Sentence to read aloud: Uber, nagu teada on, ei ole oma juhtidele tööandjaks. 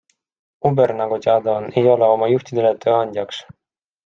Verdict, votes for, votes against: accepted, 3, 1